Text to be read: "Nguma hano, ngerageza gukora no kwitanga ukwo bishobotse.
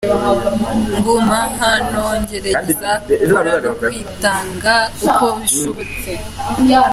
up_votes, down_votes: 0, 2